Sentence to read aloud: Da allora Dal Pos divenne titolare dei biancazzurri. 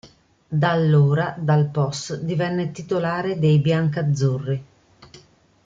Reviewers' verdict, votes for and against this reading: accepted, 2, 0